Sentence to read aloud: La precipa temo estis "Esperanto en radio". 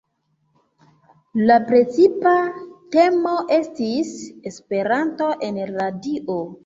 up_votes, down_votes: 2, 0